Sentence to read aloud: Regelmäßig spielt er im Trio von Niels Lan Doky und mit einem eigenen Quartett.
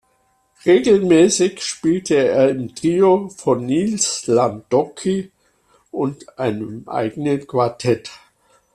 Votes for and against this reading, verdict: 0, 2, rejected